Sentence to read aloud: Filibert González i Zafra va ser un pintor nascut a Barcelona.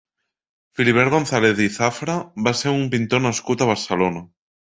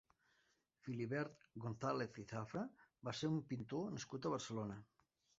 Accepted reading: first